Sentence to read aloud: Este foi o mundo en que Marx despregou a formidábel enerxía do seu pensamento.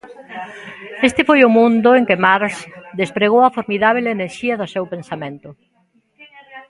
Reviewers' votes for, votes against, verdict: 1, 2, rejected